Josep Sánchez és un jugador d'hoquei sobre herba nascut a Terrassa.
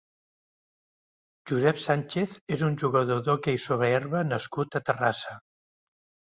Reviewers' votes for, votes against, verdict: 1, 2, rejected